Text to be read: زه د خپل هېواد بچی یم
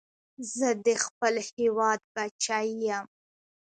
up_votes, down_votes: 2, 0